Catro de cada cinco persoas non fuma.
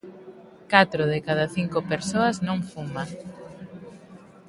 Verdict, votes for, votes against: accepted, 2, 0